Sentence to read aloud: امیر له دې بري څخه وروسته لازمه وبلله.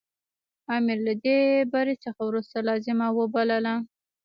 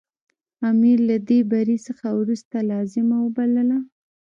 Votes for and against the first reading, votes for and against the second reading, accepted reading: 0, 2, 2, 1, second